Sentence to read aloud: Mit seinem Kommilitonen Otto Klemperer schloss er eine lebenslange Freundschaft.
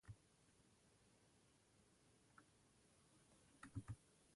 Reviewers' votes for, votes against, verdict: 0, 2, rejected